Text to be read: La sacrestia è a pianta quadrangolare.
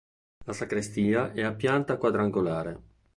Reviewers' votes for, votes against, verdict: 2, 0, accepted